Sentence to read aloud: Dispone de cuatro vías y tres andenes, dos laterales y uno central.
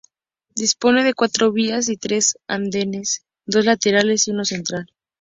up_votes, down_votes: 4, 0